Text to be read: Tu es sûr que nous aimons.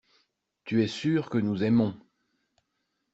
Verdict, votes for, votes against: accepted, 2, 0